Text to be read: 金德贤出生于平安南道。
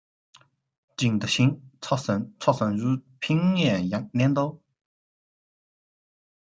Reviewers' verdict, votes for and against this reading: rejected, 1, 2